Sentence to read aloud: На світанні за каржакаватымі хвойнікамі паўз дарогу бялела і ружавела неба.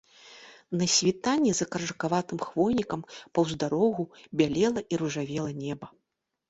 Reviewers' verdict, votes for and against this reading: rejected, 0, 2